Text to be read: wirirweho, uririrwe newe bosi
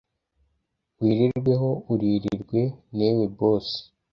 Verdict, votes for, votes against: rejected, 1, 2